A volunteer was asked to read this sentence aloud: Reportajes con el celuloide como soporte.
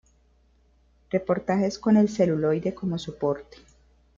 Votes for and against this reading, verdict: 2, 1, accepted